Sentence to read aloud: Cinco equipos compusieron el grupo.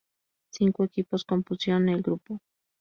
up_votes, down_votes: 0, 2